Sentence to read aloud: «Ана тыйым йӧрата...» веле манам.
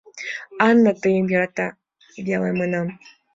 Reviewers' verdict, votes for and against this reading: accepted, 2, 0